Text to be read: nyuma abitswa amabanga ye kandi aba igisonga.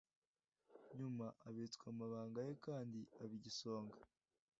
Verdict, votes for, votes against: accepted, 2, 0